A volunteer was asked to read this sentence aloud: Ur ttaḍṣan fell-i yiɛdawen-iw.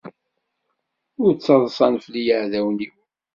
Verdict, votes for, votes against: accepted, 2, 0